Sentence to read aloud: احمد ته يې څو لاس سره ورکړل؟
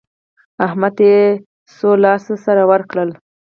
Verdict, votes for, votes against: accepted, 4, 2